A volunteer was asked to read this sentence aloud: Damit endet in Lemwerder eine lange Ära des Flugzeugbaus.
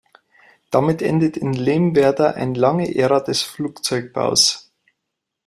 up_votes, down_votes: 1, 2